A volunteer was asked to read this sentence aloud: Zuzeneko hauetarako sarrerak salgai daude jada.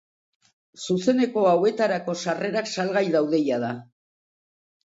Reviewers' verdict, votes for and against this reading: accepted, 3, 0